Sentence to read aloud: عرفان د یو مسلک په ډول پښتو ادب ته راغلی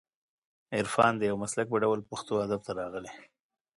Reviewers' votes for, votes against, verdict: 2, 0, accepted